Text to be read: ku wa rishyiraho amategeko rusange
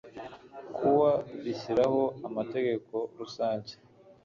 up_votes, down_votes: 1, 2